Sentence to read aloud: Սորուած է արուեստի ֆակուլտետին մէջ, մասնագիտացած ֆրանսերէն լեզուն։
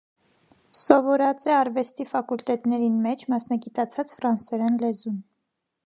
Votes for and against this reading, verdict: 1, 2, rejected